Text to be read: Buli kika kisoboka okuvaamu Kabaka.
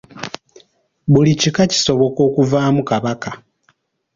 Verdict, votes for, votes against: accepted, 2, 0